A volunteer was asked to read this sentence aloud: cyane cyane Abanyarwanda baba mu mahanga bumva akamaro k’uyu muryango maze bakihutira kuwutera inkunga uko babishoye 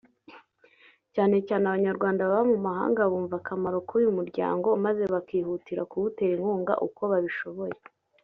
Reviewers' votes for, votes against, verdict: 0, 2, rejected